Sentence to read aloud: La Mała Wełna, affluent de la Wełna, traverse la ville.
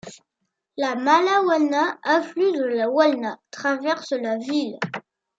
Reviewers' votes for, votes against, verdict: 2, 0, accepted